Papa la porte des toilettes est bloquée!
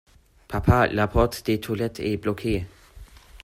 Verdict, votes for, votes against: accepted, 2, 1